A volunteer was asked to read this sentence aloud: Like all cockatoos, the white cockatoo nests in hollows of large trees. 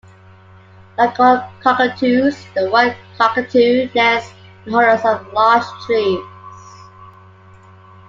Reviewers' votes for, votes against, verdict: 3, 2, accepted